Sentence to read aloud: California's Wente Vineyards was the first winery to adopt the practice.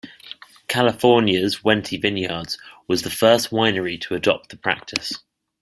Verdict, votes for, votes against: accepted, 2, 0